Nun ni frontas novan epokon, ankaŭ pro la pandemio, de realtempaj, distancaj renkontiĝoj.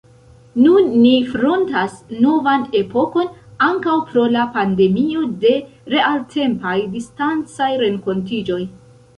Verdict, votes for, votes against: rejected, 0, 2